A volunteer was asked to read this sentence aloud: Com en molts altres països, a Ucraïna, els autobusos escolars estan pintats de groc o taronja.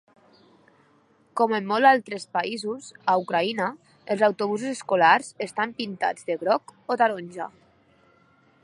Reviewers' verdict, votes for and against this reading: rejected, 1, 2